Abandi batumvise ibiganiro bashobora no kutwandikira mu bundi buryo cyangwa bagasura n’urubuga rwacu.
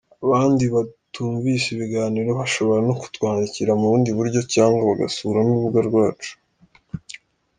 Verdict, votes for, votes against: accepted, 2, 0